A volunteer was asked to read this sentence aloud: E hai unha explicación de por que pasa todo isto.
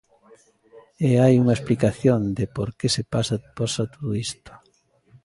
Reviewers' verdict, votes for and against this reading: rejected, 0, 2